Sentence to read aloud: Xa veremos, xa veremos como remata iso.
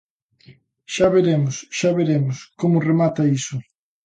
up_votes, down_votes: 2, 0